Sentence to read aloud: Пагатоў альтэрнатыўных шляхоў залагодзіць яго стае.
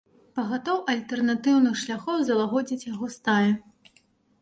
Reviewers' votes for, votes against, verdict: 3, 1, accepted